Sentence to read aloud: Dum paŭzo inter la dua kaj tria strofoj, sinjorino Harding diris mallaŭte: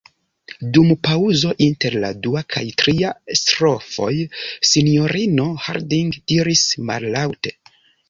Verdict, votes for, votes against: rejected, 0, 2